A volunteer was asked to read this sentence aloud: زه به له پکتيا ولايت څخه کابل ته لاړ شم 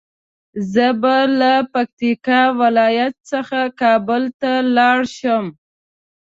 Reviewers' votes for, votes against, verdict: 1, 2, rejected